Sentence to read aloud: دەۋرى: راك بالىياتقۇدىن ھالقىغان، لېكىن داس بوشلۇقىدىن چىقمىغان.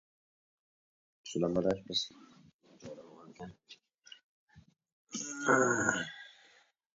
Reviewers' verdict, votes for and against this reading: rejected, 0, 2